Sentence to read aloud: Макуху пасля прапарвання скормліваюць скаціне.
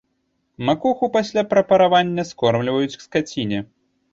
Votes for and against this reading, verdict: 1, 2, rejected